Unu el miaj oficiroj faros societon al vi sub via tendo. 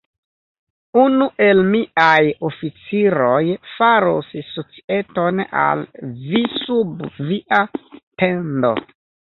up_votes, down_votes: 2, 0